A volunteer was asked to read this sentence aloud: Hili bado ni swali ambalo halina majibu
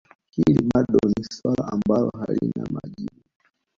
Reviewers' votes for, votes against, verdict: 1, 2, rejected